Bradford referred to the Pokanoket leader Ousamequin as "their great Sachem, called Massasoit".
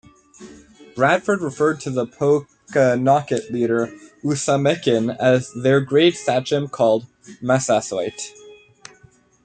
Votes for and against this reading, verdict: 1, 2, rejected